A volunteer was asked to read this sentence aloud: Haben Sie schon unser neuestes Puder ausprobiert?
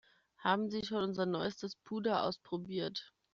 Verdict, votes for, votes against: accepted, 2, 0